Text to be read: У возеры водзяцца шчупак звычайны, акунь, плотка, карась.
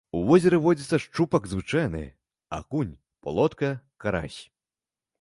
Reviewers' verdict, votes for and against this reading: rejected, 1, 2